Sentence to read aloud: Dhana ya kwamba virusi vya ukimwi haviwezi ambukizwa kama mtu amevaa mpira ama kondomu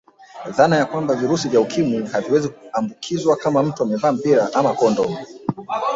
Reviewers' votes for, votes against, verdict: 1, 2, rejected